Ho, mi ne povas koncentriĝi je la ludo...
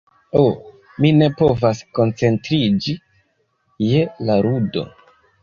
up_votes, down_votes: 1, 2